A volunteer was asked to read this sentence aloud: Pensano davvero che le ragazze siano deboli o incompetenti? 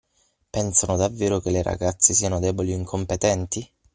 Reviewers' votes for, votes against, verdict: 6, 0, accepted